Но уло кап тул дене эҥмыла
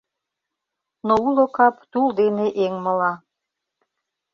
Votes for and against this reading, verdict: 2, 0, accepted